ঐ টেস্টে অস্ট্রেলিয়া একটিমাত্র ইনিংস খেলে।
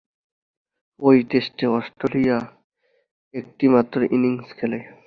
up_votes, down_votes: 1, 4